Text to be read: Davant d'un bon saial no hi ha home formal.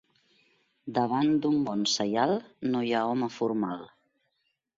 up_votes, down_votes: 2, 0